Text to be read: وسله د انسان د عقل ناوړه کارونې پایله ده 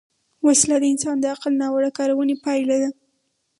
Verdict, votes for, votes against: accepted, 4, 0